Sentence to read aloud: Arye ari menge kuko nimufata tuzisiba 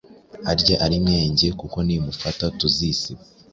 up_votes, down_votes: 2, 0